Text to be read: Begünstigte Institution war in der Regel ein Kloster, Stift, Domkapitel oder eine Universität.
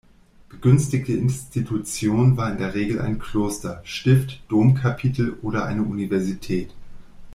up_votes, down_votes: 1, 2